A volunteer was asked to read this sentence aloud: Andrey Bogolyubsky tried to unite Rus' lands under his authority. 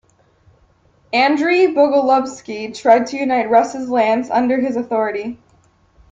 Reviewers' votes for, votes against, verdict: 3, 0, accepted